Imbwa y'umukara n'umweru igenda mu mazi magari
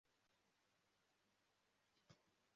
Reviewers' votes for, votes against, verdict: 0, 2, rejected